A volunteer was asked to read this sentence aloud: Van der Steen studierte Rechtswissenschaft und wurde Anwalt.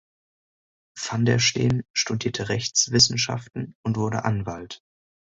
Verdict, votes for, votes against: rejected, 1, 2